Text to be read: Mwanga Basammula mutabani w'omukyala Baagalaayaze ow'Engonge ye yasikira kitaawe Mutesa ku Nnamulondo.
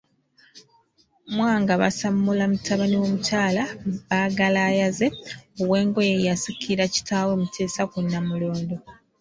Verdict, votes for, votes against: accepted, 2, 0